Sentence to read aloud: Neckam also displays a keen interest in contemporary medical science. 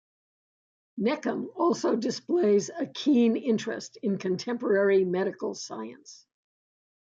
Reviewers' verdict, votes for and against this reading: accepted, 2, 0